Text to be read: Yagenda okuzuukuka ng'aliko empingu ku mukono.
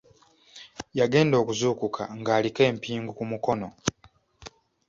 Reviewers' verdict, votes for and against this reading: accepted, 2, 0